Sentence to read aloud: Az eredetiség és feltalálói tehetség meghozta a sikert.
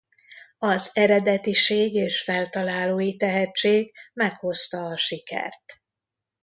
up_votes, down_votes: 2, 0